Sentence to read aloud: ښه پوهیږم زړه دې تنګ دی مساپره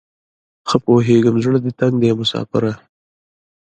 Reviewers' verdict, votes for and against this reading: accepted, 2, 0